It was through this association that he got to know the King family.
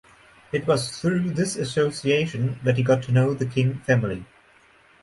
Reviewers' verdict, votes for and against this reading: rejected, 2, 2